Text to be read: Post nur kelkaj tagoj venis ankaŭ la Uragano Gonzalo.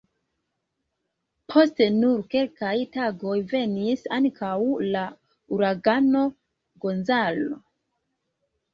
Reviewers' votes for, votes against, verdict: 2, 3, rejected